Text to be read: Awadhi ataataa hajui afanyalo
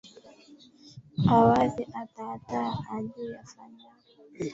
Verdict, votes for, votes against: rejected, 1, 2